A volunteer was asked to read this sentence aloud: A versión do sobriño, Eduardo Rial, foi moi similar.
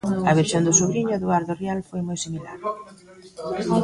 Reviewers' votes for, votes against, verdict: 1, 2, rejected